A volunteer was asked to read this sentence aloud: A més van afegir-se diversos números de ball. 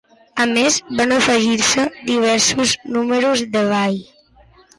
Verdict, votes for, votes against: accepted, 2, 0